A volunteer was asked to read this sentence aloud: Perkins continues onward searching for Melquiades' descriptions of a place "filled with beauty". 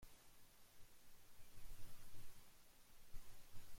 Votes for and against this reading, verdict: 0, 2, rejected